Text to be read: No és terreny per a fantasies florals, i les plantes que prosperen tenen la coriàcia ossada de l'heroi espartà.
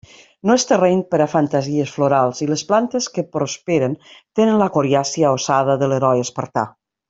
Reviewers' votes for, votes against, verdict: 2, 0, accepted